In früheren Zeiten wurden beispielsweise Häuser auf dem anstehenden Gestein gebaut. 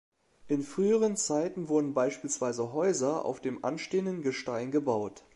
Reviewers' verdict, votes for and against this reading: accepted, 2, 0